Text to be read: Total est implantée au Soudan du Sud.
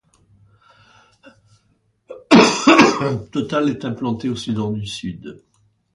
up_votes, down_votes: 2, 0